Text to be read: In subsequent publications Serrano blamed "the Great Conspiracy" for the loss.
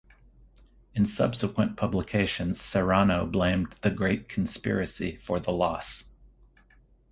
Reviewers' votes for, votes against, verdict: 4, 0, accepted